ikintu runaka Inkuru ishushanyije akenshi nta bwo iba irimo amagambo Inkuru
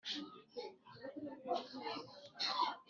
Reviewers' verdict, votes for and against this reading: rejected, 1, 2